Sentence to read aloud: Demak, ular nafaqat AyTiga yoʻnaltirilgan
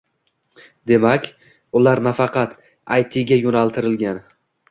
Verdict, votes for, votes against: accepted, 2, 0